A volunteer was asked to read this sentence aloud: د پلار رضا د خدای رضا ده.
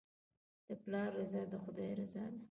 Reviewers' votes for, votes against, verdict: 2, 0, accepted